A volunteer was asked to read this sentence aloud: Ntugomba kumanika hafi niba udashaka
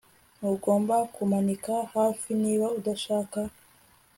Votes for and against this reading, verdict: 2, 0, accepted